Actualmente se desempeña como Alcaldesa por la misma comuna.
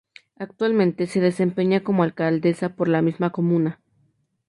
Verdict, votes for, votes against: accepted, 2, 0